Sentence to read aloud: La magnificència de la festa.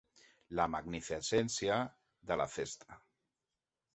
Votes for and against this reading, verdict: 2, 3, rejected